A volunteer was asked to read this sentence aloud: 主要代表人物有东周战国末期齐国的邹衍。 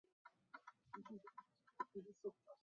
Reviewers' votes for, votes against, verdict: 1, 2, rejected